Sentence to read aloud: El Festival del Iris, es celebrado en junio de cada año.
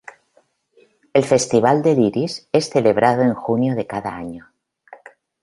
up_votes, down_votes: 2, 0